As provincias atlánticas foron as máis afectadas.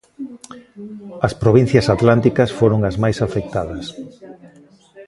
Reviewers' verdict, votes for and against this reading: rejected, 0, 2